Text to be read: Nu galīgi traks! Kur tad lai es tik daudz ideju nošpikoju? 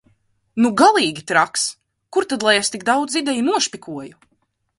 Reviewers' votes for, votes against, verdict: 6, 0, accepted